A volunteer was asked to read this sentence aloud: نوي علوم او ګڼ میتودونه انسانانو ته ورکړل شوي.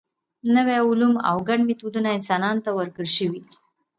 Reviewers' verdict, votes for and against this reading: accepted, 2, 0